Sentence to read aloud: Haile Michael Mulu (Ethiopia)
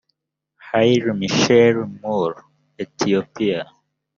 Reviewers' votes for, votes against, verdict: 2, 3, rejected